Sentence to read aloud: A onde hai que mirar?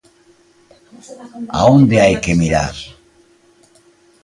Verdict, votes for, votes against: accepted, 2, 0